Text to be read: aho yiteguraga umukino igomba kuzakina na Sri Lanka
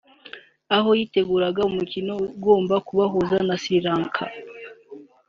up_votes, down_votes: 2, 1